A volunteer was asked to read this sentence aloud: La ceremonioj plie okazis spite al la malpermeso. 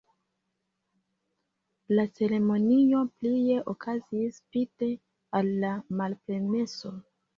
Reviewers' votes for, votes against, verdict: 2, 1, accepted